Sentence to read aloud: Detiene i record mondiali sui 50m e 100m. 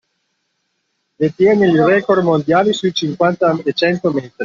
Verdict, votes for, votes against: rejected, 0, 2